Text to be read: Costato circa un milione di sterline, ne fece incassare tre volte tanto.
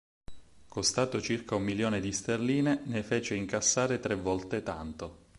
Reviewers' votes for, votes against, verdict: 4, 0, accepted